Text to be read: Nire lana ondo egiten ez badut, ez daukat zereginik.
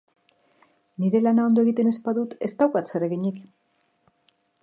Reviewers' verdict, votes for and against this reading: accepted, 2, 0